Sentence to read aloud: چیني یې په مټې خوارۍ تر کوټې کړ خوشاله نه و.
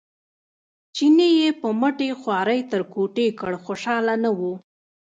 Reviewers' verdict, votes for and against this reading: rejected, 1, 2